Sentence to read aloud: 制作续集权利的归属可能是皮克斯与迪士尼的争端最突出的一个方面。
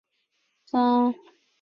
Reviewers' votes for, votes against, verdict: 0, 2, rejected